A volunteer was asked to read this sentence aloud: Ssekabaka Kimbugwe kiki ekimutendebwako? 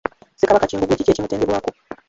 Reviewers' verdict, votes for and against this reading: rejected, 0, 2